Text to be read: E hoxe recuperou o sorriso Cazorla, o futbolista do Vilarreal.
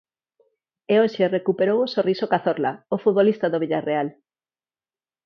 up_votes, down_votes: 2, 4